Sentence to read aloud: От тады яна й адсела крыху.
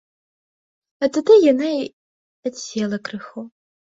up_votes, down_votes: 2, 0